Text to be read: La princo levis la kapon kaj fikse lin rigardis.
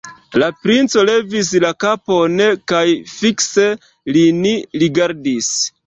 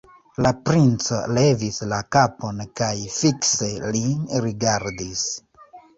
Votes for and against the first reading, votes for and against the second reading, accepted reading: 2, 1, 0, 2, first